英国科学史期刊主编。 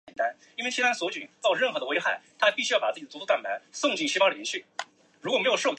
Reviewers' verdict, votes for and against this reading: rejected, 0, 2